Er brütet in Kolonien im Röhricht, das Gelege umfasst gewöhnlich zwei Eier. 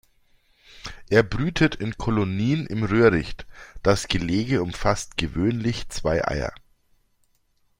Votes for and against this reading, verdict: 2, 0, accepted